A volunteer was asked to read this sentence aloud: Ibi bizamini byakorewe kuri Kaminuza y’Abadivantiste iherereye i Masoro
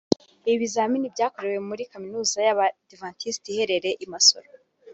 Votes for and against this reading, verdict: 1, 2, rejected